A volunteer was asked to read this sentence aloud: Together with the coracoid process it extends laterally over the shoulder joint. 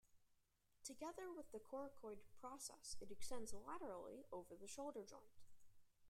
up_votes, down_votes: 1, 2